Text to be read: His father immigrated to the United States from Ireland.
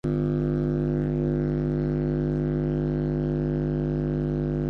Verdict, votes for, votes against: rejected, 0, 2